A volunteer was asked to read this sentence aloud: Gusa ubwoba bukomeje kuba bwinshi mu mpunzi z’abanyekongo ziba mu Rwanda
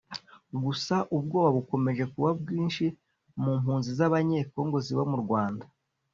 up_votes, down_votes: 2, 0